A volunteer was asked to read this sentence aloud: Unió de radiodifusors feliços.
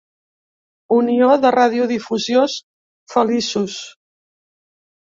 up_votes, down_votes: 0, 2